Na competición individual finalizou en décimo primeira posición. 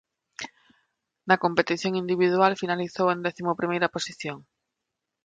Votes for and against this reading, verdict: 2, 0, accepted